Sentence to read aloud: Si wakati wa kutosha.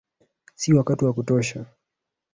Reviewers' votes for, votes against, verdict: 0, 2, rejected